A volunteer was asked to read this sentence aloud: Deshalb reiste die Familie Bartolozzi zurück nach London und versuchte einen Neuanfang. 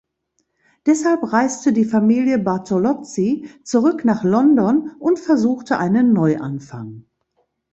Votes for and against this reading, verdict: 2, 0, accepted